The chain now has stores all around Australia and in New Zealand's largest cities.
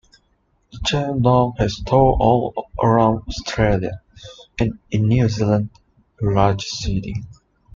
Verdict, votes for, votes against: accepted, 2, 0